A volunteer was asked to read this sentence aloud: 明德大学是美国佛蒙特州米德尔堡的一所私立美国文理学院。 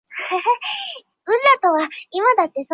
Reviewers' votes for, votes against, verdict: 0, 4, rejected